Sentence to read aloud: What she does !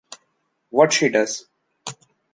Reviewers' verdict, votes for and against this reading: accepted, 2, 0